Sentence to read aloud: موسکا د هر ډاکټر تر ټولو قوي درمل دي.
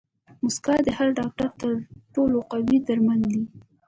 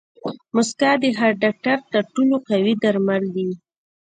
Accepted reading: second